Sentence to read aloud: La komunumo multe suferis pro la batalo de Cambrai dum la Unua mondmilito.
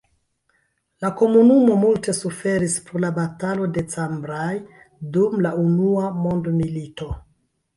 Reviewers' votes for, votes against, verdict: 0, 2, rejected